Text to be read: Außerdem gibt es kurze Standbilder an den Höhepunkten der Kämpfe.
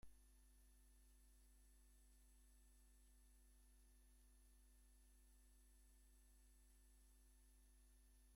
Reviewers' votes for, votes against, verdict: 0, 2, rejected